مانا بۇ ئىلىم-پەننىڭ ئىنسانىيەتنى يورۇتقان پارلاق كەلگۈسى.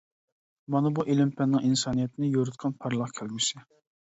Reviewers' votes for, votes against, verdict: 2, 0, accepted